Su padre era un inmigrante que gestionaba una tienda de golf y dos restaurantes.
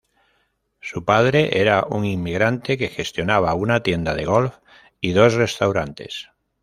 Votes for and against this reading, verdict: 2, 0, accepted